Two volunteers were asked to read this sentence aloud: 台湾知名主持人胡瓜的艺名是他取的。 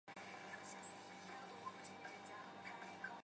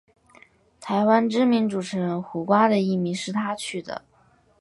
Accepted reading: second